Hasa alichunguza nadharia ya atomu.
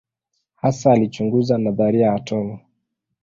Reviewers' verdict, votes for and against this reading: rejected, 1, 2